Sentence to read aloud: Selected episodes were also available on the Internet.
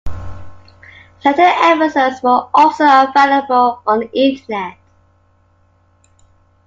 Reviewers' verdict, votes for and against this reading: rejected, 0, 2